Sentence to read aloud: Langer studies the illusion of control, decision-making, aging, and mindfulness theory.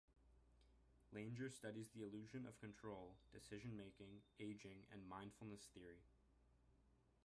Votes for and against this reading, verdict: 0, 2, rejected